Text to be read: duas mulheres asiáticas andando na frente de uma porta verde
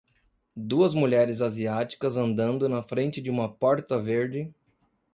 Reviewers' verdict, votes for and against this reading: accepted, 2, 0